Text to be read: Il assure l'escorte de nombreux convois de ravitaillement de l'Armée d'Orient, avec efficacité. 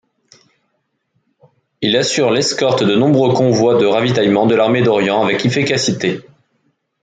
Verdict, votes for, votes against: accepted, 2, 0